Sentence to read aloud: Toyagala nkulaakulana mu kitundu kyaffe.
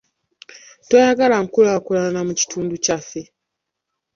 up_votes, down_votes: 0, 2